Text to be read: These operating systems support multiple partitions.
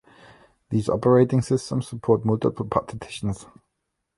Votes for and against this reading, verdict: 1, 2, rejected